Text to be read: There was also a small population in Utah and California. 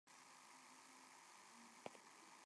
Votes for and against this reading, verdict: 0, 2, rejected